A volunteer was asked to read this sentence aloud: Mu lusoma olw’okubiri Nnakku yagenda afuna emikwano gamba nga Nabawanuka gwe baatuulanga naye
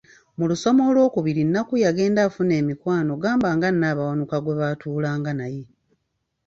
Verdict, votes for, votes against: accepted, 2, 0